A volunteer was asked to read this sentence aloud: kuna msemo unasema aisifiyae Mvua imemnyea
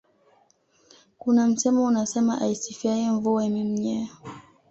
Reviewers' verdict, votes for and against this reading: accepted, 2, 0